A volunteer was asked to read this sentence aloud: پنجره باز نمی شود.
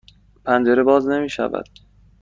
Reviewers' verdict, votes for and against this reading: accepted, 2, 0